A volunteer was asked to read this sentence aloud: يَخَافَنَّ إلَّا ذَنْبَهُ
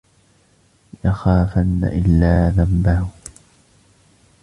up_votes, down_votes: 0, 2